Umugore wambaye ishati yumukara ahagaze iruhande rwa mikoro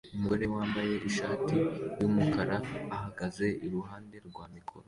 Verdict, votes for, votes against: accepted, 2, 0